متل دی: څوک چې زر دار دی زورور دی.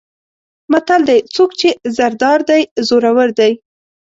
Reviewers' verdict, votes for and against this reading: accepted, 2, 0